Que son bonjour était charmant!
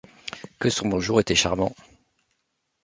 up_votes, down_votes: 2, 0